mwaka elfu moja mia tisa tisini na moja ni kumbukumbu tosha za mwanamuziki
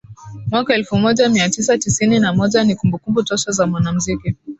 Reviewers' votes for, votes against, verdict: 2, 0, accepted